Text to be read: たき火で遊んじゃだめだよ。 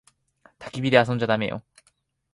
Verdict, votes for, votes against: rejected, 1, 2